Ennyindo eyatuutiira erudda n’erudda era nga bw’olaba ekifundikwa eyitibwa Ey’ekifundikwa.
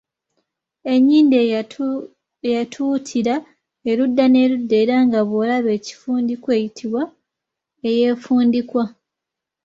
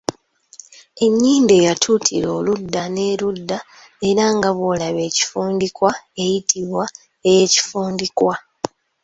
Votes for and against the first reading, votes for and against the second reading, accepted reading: 1, 3, 3, 0, second